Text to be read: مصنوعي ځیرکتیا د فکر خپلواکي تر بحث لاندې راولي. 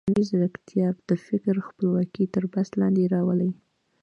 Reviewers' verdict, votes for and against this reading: accepted, 2, 0